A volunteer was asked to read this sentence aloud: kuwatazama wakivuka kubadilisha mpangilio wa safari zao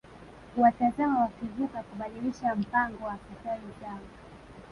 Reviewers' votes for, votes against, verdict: 1, 2, rejected